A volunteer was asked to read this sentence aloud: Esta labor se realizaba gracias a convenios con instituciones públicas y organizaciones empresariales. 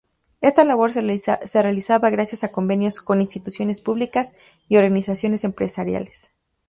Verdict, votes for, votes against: rejected, 0, 2